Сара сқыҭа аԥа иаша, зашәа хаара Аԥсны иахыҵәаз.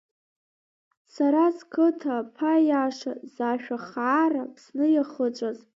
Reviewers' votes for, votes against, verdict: 2, 1, accepted